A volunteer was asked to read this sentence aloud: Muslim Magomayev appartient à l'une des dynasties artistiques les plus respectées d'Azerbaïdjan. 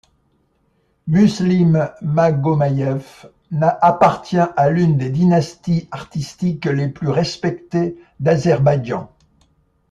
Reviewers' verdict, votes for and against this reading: rejected, 0, 2